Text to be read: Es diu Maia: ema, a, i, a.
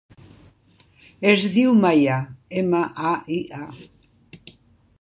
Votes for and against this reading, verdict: 1, 2, rejected